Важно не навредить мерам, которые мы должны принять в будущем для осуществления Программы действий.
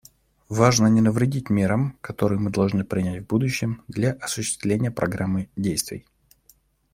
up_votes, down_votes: 2, 0